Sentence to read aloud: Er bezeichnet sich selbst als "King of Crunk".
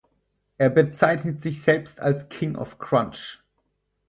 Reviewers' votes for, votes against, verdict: 0, 4, rejected